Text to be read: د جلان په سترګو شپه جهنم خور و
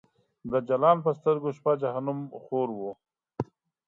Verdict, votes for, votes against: accepted, 2, 0